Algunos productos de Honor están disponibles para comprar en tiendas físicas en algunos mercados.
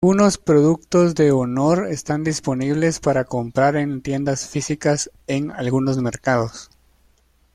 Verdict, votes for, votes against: rejected, 1, 2